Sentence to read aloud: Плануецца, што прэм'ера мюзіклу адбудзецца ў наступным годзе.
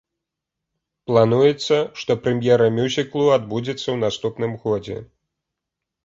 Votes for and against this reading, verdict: 2, 0, accepted